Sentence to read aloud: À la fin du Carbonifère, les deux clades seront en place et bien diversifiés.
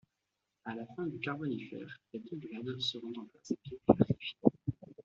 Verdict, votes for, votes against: rejected, 0, 2